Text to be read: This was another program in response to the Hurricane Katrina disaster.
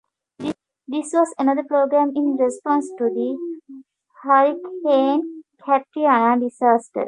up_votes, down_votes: 0, 2